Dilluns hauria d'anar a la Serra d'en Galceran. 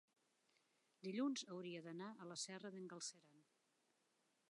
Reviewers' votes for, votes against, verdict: 0, 2, rejected